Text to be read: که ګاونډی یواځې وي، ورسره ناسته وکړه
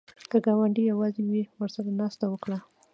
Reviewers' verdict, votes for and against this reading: rejected, 1, 2